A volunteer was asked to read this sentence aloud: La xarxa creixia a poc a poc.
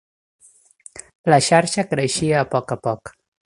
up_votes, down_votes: 3, 0